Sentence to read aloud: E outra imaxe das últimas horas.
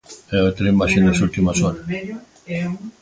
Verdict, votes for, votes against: rejected, 0, 2